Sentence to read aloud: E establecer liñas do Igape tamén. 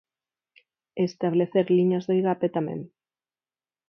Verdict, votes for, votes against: accepted, 4, 0